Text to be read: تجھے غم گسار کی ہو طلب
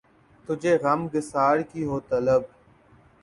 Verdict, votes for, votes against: accepted, 2, 0